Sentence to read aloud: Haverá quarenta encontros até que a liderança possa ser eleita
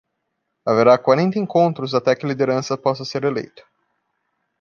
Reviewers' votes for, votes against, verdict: 2, 0, accepted